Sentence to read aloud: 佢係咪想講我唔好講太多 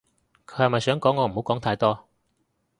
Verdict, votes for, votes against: accepted, 2, 0